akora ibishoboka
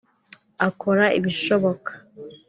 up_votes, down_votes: 2, 0